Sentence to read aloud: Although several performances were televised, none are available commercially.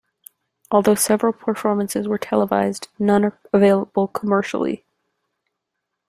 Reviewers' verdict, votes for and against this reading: rejected, 1, 2